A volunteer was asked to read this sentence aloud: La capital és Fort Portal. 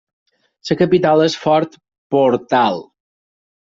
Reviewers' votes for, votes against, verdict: 2, 4, rejected